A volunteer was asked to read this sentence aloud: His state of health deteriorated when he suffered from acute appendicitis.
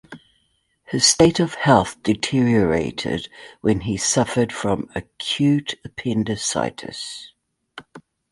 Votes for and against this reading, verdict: 2, 0, accepted